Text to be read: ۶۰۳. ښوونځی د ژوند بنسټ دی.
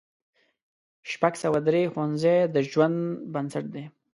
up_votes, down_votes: 0, 2